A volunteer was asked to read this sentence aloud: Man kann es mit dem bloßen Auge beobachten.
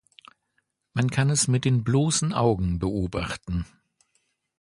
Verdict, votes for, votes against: rejected, 1, 2